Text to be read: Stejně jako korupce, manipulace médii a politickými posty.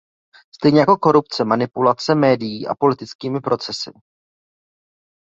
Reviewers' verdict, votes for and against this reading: rejected, 1, 2